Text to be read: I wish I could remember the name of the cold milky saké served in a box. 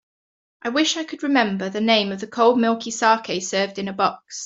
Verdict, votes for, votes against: accepted, 2, 0